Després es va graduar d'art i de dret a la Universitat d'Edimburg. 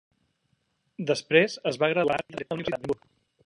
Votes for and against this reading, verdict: 0, 2, rejected